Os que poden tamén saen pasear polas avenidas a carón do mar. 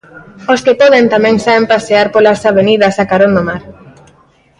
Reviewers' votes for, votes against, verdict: 2, 1, accepted